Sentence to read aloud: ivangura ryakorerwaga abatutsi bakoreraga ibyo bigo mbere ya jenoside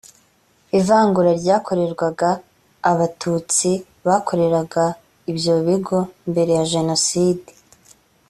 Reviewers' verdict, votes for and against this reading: accepted, 2, 0